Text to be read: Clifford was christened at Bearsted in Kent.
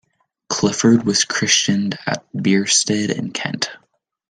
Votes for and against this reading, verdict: 0, 2, rejected